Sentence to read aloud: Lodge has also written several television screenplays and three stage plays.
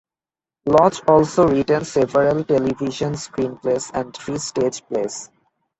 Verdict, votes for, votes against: rejected, 1, 2